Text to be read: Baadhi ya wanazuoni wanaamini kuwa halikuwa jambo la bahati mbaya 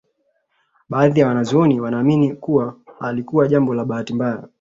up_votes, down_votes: 2, 0